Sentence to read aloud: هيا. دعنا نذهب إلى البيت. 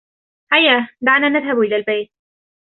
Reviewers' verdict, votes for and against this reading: accepted, 2, 0